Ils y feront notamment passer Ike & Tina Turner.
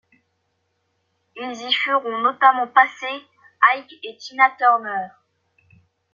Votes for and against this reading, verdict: 1, 2, rejected